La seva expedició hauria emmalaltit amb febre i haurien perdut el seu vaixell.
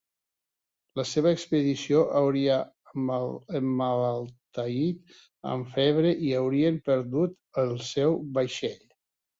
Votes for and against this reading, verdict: 1, 2, rejected